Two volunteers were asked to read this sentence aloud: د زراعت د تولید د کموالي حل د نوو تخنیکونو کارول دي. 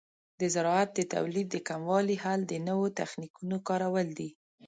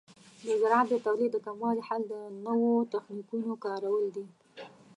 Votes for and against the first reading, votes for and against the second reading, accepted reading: 2, 0, 0, 2, first